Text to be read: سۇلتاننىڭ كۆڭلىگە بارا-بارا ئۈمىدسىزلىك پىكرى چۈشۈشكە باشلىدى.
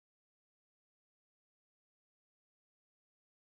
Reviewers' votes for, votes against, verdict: 0, 2, rejected